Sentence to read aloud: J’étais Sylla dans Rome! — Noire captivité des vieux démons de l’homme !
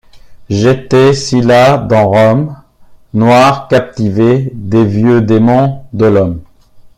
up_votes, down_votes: 1, 2